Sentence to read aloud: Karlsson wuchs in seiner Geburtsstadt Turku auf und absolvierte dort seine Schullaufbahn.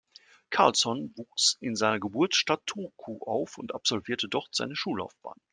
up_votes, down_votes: 2, 0